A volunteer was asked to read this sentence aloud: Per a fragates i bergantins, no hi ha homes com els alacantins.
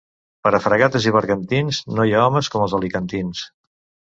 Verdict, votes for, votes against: rejected, 0, 2